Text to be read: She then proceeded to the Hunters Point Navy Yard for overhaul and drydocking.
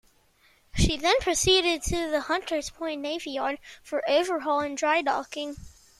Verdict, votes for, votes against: accepted, 2, 0